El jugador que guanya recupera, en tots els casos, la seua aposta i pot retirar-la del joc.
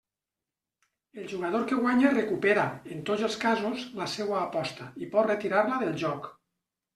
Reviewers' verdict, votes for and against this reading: accepted, 2, 0